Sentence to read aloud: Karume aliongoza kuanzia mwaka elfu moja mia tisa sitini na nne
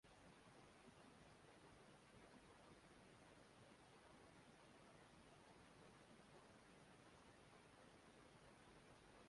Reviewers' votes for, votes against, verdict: 0, 2, rejected